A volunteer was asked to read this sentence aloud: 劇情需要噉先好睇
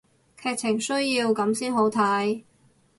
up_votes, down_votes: 2, 0